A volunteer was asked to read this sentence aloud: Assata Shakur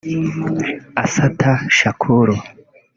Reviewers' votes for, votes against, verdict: 1, 2, rejected